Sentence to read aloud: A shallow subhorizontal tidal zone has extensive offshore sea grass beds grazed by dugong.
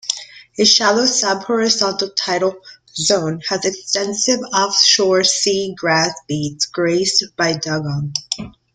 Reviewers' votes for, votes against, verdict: 0, 2, rejected